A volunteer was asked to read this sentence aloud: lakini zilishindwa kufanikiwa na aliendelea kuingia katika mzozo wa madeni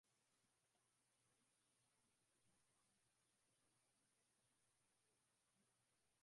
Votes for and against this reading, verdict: 0, 5, rejected